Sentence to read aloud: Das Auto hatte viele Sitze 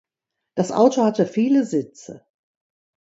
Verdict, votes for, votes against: accepted, 2, 0